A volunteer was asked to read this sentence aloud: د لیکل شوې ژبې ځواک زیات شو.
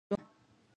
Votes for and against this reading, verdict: 0, 2, rejected